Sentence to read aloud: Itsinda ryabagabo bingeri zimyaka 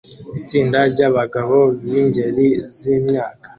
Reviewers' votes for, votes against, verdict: 2, 0, accepted